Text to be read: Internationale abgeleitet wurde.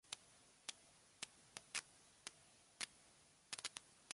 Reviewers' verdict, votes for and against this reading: rejected, 0, 2